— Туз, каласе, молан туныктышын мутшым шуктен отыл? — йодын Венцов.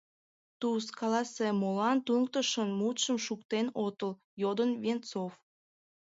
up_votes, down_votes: 2, 1